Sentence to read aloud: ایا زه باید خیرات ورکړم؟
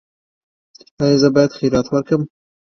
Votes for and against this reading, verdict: 2, 0, accepted